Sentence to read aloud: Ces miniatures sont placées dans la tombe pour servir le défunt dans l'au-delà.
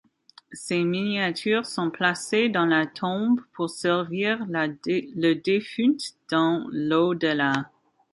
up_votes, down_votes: 1, 2